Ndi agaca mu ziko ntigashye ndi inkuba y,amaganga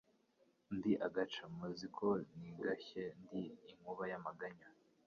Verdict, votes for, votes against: rejected, 1, 2